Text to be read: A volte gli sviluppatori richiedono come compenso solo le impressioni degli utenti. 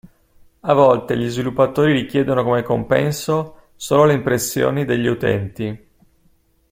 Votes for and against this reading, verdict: 2, 0, accepted